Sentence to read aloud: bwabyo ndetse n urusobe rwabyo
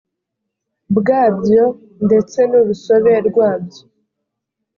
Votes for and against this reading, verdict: 2, 0, accepted